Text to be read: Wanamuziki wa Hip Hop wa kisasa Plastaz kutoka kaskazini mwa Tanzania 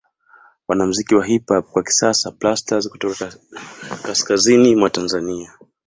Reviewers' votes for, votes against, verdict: 2, 1, accepted